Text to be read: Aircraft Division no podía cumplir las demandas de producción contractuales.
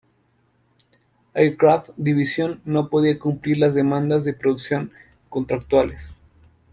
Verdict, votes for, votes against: accepted, 2, 0